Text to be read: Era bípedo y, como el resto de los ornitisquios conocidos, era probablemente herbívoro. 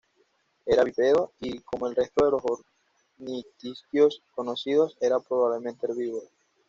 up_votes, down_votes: 1, 2